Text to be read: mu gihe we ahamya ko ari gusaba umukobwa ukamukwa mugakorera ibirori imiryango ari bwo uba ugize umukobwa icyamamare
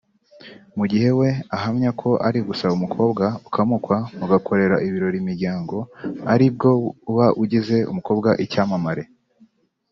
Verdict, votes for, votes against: accepted, 2, 1